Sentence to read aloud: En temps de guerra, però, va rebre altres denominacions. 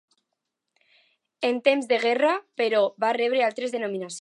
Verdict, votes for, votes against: rejected, 0, 2